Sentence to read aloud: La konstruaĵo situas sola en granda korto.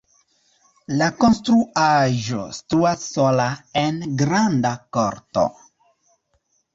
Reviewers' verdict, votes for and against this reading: accepted, 2, 1